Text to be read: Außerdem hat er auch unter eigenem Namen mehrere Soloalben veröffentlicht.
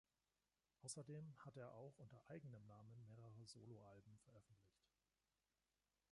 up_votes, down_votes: 2, 1